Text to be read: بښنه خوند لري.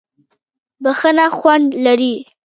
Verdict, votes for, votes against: rejected, 0, 2